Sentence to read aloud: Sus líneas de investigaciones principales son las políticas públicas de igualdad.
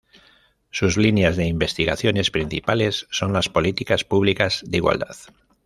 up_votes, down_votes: 2, 0